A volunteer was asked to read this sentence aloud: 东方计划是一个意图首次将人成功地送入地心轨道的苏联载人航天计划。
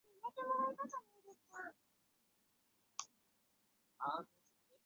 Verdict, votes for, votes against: rejected, 0, 2